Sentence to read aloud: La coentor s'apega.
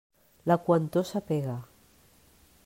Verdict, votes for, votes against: rejected, 1, 2